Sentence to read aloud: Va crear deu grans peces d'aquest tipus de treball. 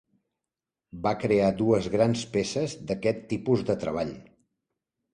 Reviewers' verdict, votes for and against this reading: rejected, 0, 2